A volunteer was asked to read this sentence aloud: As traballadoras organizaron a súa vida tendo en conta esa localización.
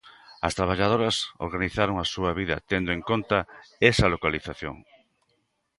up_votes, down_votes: 2, 0